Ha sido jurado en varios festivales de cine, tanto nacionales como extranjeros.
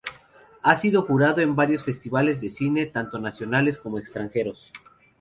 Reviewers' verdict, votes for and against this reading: accepted, 2, 0